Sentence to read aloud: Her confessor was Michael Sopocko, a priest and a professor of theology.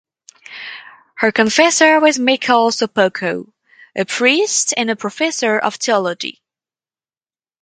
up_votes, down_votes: 2, 2